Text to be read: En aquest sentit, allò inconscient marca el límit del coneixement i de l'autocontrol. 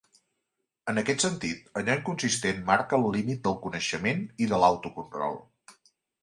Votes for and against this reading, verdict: 1, 2, rejected